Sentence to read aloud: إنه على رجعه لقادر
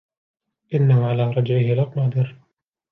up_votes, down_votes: 2, 0